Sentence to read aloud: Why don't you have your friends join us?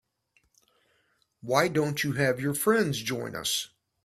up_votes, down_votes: 3, 0